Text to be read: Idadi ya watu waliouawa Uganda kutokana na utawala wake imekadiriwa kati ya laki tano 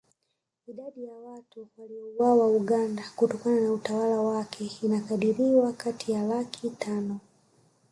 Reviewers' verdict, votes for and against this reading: rejected, 0, 2